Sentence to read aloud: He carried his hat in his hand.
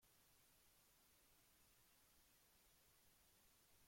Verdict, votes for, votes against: rejected, 0, 2